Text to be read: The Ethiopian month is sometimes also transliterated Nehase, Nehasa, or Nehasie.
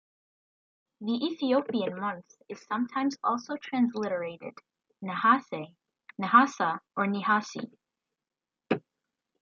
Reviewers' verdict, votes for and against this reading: rejected, 0, 2